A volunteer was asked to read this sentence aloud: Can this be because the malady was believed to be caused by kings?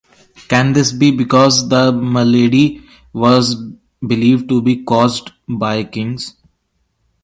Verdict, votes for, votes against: accepted, 2, 1